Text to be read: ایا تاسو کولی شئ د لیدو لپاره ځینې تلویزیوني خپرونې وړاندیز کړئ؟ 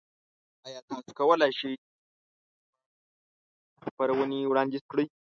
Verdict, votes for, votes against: rejected, 0, 2